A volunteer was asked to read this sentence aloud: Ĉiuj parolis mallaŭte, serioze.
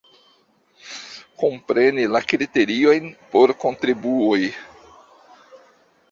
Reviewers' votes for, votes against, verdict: 0, 2, rejected